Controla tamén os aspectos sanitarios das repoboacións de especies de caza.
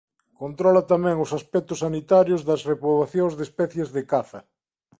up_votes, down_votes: 2, 0